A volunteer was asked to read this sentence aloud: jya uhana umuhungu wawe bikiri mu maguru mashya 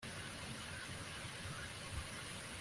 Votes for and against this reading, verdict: 0, 2, rejected